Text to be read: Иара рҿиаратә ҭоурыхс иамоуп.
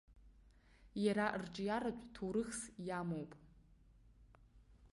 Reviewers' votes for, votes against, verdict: 3, 0, accepted